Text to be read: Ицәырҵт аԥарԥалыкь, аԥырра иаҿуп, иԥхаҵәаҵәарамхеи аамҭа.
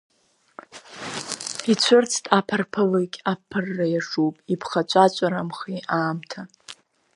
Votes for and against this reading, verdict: 2, 0, accepted